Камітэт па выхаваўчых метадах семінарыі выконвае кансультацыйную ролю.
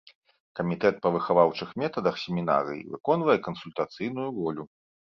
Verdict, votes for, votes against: accepted, 2, 0